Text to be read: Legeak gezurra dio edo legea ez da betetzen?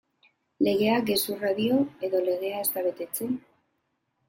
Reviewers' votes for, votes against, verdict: 2, 0, accepted